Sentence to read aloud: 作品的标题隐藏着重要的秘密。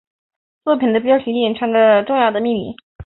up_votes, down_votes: 3, 1